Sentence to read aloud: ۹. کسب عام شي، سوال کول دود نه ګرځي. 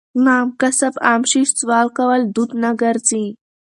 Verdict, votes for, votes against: rejected, 0, 2